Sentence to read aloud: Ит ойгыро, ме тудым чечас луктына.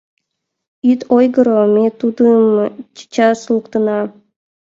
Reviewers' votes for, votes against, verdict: 2, 1, accepted